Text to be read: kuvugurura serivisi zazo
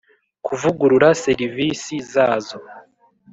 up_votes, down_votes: 2, 0